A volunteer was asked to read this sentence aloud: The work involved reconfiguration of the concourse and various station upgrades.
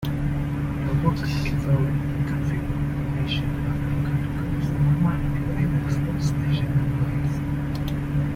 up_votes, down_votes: 1, 2